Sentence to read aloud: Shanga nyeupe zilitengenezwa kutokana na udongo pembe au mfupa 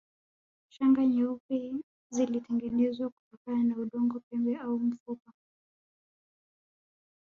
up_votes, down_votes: 1, 2